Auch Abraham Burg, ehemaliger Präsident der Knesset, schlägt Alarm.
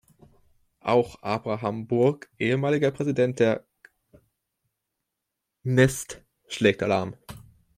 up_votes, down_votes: 0, 2